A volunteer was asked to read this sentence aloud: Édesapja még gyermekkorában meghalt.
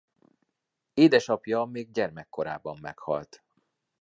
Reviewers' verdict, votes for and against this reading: accepted, 3, 0